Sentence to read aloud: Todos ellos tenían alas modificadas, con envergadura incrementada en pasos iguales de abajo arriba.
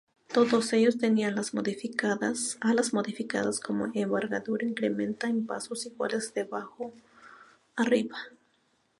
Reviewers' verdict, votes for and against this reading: rejected, 0, 2